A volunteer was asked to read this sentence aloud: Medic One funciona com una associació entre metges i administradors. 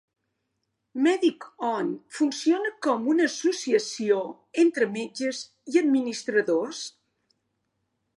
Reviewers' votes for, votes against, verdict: 0, 2, rejected